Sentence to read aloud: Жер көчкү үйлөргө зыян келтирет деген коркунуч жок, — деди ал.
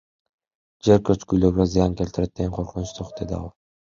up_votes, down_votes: 1, 2